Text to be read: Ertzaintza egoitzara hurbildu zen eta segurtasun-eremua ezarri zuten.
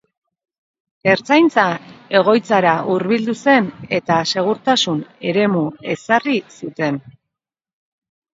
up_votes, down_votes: 1, 2